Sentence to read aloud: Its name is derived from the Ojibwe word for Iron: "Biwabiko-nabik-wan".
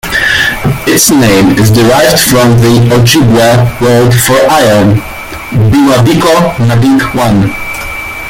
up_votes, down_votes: 2, 1